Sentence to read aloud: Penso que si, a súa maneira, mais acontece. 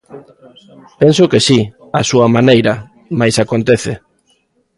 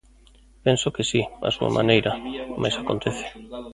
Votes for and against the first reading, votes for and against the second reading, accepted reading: 2, 0, 0, 2, first